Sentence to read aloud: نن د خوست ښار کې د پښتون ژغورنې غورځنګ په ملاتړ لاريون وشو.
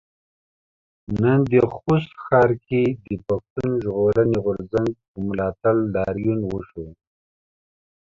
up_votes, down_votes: 2, 0